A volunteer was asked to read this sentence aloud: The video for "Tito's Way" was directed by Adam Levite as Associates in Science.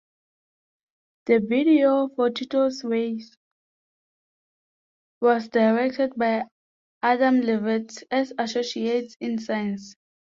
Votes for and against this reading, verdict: 0, 2, rejected